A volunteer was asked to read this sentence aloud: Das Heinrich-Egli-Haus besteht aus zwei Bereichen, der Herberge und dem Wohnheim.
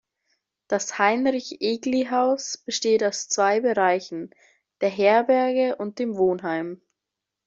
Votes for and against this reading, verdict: 2, 0, accepted